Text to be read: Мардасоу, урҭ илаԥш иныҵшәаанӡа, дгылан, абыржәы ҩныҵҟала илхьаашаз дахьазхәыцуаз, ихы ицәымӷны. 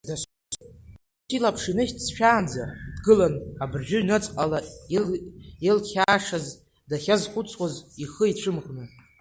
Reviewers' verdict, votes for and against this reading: rejected, 1, 3